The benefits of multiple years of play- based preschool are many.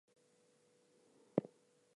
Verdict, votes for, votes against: rejected, 0, 4